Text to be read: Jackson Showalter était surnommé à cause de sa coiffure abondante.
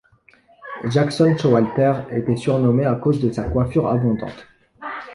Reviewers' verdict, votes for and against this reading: accepted, 2, 0